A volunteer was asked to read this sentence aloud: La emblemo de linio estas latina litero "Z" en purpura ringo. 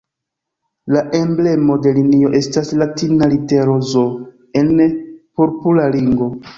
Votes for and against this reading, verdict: 0, 2, rejected